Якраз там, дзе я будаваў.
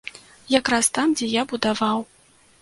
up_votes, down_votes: 2, 0